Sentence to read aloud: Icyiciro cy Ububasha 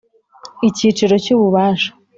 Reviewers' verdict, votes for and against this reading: accepted, 2, 0